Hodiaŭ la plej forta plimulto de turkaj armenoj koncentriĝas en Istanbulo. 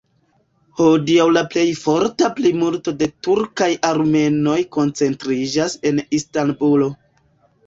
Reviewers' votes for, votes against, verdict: 0, 2, rejected